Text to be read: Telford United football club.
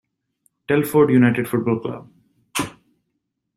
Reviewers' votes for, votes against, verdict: 2, 0, accepted